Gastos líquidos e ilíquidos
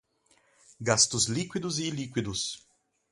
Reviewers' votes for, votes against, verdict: 2, 2, rejected